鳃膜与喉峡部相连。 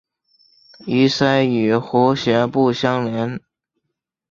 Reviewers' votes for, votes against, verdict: 3, 1, accepted